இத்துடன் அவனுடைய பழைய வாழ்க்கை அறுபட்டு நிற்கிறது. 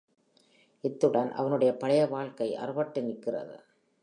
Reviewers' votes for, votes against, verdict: 2, 0, accepted